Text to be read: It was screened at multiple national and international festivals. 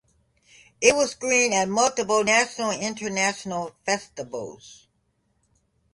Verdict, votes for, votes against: rejected, 1, 2